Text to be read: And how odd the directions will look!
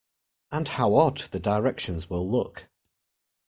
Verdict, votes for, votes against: accepted, 2, 0